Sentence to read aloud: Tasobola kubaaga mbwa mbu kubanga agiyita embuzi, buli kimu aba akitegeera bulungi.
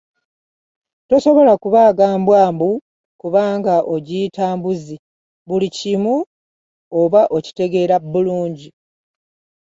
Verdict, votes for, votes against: rejected, 0, 2